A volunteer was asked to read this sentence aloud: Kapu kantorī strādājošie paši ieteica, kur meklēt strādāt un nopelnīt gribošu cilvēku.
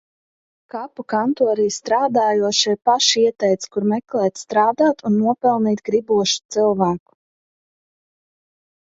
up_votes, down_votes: 2, 0